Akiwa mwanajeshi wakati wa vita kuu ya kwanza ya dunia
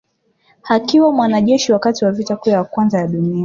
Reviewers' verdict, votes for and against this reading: accepted, 2, 0